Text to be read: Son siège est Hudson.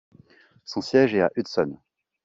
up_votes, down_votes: 0, 2